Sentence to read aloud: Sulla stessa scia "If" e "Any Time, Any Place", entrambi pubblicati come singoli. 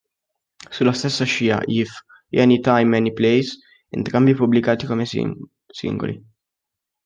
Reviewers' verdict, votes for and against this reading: rejected, 1, 3